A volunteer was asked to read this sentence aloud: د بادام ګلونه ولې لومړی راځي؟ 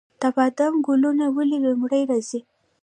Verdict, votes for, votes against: rejected, 1, 2